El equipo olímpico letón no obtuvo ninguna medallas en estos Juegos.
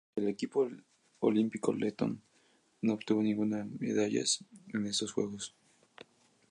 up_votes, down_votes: 2, 0